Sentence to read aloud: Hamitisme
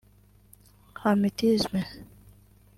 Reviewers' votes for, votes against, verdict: 1, 2, rejected